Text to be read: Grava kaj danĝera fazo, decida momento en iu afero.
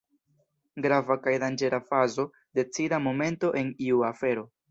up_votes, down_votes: 2, 0